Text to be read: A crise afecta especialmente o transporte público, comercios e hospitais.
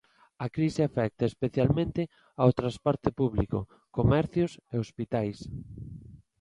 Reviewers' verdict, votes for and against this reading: accepted, 2, 0